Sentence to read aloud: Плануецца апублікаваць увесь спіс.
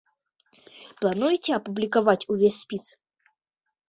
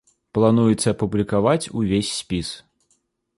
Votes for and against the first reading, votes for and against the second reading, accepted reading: 1, 2, 3, 0, second